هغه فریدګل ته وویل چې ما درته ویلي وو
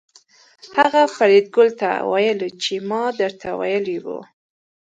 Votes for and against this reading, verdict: 1, 2, rejected